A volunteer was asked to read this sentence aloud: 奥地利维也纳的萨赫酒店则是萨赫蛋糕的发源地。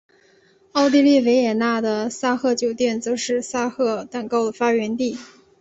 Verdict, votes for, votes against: accepted, 4, 0